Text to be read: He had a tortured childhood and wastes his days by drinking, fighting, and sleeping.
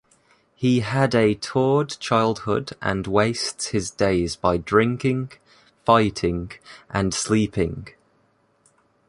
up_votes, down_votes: 2, 1